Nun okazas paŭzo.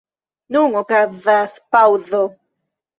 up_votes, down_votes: 2, 0